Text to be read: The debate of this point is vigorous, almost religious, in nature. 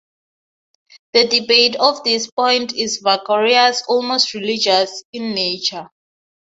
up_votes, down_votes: 6, 0